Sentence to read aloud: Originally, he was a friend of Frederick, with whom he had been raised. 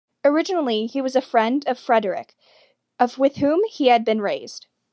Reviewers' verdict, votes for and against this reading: rejected, 0, 2